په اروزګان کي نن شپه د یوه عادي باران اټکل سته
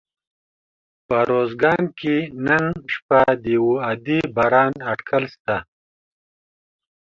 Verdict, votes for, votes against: rejected, 1, 2